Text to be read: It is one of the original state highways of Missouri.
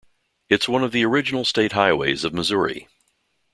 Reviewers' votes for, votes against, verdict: 0, 2, rejected